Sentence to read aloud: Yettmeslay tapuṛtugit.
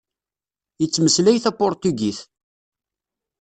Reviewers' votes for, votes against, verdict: 1, 2, rejected